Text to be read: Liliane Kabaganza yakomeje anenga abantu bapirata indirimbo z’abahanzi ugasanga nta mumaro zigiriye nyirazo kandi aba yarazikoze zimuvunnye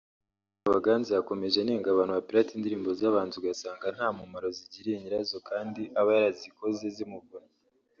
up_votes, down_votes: 0, 2